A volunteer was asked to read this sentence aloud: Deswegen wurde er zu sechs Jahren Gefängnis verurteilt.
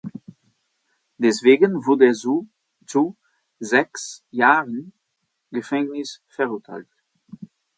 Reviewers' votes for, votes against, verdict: 0, 2, rejected